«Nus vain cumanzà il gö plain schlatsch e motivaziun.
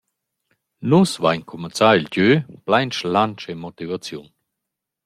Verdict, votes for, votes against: accepted, 2, 0